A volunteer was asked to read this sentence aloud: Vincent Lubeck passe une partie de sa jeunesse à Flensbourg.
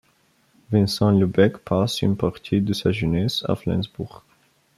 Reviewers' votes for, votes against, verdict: 2, 0, accepted